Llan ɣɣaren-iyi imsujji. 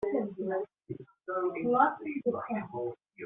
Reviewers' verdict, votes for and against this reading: rejected, 1, 2